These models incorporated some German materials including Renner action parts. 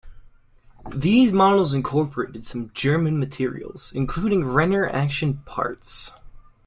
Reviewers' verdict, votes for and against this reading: accepted, 2, 0